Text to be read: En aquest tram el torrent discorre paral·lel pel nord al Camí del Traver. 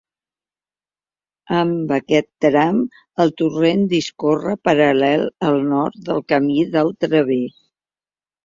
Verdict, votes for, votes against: rejected, 1, 2